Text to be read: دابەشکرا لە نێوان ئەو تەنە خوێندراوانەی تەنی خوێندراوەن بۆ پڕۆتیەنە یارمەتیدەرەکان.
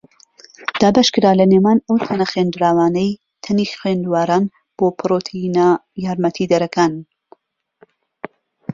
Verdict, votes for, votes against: rejected, 0, 2